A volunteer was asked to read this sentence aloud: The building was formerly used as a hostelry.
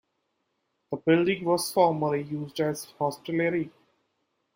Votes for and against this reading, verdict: 1, 2, rejected